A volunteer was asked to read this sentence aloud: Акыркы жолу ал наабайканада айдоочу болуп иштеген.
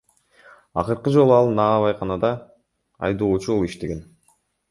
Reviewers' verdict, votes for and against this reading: accepted, 2, 1